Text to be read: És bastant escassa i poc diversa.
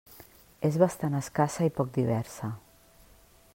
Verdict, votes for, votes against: accepted, 3, 0